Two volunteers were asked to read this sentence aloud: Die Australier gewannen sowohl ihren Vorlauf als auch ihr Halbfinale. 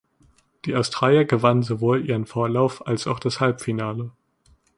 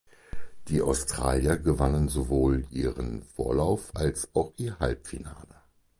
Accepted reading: second